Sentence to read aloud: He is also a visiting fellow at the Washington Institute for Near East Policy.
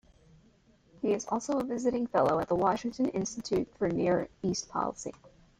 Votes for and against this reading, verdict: 1, 2, rejected